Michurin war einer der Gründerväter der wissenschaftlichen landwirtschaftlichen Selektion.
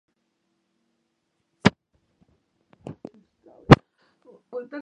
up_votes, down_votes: 0, 2